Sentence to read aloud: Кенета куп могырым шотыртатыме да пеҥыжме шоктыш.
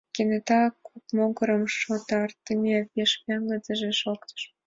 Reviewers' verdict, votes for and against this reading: accepted, 2, 0